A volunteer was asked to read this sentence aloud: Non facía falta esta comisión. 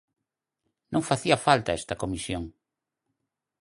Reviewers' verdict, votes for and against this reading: accepted, 4, 0